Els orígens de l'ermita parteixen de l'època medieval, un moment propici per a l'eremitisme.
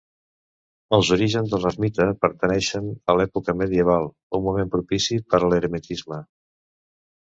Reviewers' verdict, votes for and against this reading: rejected, 1, 2